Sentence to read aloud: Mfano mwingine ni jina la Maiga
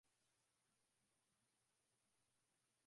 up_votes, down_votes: 0, 2